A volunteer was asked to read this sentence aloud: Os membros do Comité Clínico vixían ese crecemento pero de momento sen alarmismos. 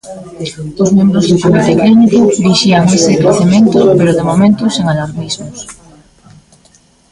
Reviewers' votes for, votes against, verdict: 1, 2, rejected